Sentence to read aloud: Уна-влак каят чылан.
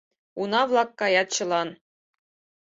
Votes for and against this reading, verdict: 4, 0, accepted